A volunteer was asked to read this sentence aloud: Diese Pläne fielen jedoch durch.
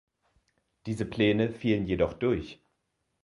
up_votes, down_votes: 2, 0